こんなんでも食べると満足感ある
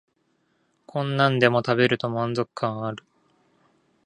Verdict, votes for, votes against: accepted, 2, 0